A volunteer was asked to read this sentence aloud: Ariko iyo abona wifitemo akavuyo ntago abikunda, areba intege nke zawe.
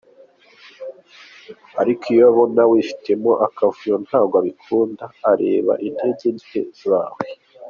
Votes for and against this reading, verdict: 2, 0, accepted